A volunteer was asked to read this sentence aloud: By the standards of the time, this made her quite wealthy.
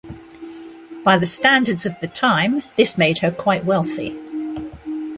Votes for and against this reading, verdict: 2, 0, accepted